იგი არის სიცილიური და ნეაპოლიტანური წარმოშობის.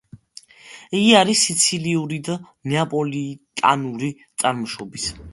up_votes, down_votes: 1, 2